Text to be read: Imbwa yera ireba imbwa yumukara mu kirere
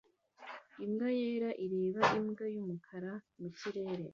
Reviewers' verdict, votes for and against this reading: accepted, 2, 0